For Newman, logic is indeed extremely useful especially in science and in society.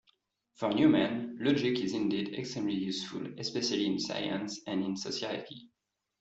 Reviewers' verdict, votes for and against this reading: accepted, 2, 0